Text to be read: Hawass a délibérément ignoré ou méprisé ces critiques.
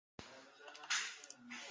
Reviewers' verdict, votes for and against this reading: rejected, 0, 2